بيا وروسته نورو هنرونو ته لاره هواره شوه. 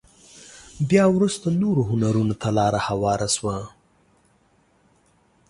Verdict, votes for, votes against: accepted, 2, 0